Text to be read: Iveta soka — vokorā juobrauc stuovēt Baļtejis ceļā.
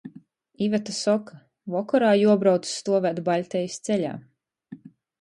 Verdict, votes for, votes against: accepted, 8, 0